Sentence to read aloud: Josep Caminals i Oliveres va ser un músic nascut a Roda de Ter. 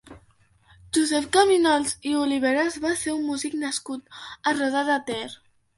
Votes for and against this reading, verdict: 2, 0, accepted